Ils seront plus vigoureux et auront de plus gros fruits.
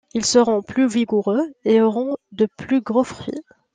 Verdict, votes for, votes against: accepted, 2, 0